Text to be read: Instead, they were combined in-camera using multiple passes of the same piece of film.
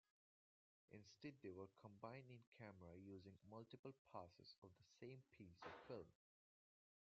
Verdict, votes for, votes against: rejected, 0, 2